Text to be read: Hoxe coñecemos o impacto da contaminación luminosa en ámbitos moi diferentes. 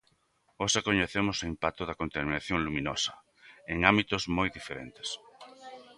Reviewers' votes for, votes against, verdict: 2, 0, accepted